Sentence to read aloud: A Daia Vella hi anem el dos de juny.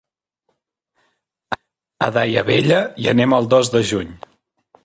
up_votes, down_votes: 1, 2